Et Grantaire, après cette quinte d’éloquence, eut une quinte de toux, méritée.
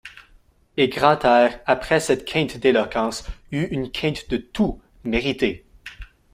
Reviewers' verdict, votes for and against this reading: accepted, 2, 1